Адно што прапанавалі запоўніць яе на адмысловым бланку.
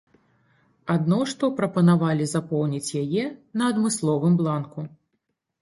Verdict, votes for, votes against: accepted, 2, 0